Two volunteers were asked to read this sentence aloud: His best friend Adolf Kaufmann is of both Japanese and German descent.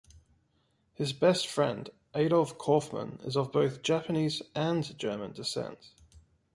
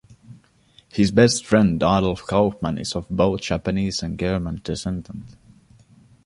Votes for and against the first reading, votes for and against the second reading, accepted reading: 2, 0, 0, 2, first